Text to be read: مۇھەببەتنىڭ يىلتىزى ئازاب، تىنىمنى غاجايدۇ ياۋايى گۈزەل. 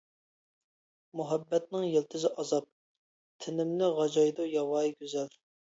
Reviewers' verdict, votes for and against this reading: accepted, 2, 0